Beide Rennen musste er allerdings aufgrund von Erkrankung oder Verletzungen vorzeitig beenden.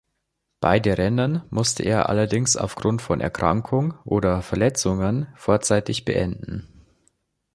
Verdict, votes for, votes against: accepted, 2, 0